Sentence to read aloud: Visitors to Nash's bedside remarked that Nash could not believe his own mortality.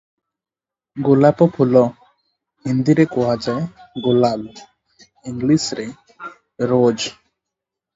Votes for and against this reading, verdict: 0, 2, rejected